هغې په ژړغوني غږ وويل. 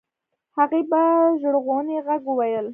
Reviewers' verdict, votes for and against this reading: rejected, 1, 2